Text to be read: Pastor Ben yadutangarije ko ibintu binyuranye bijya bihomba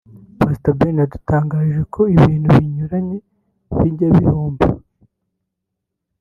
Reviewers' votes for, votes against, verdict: 1, 2, rejected